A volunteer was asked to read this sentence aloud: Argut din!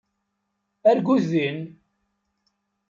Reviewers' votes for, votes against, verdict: 2, 0, accepted